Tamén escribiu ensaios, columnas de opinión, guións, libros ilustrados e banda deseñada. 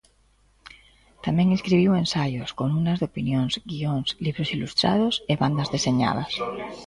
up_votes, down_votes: 0, 2